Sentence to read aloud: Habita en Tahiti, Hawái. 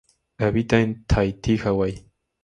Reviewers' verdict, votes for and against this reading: accepted, 2, 0